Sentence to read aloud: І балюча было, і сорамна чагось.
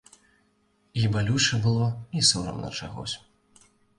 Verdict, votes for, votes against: accepted, 2, 0